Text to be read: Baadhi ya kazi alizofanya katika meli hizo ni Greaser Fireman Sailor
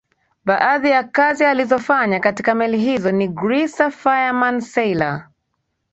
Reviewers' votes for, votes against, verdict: 3, 0, accepted